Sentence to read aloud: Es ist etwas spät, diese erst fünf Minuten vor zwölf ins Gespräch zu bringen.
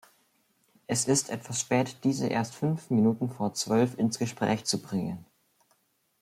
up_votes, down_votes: 2, 0